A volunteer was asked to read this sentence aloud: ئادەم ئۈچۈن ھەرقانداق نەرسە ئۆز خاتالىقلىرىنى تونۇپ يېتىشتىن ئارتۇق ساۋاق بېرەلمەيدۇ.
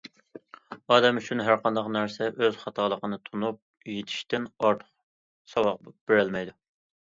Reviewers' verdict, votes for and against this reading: rejected, 0, 2